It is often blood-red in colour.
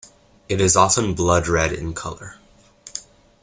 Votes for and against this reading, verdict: 2, 0, accepted